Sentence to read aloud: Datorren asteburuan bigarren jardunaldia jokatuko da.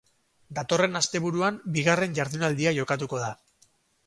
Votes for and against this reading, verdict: 2, 2, rejected